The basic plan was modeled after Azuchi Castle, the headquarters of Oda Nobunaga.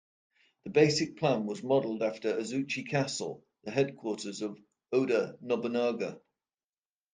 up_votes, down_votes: 2, 0